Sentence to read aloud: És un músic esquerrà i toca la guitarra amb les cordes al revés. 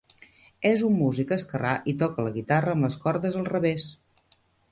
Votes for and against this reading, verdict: 3, 0, accepted